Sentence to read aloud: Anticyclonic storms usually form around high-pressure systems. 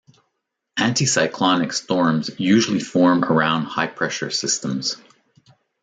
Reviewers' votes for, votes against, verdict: 2, 0, accepted